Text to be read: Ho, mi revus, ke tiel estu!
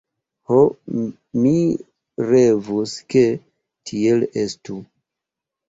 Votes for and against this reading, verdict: 0, 2, rejected